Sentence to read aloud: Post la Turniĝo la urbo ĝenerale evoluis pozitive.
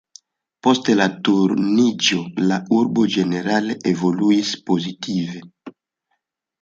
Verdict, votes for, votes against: rejected, 0, 2